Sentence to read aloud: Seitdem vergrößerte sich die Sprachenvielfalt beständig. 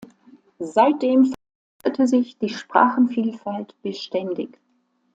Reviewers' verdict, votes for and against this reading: rejected, 0, 2